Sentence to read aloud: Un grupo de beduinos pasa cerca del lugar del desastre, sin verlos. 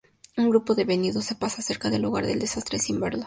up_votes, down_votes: 0, 2